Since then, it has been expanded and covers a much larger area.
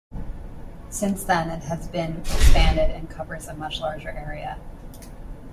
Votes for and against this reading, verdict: 2, 0, accepted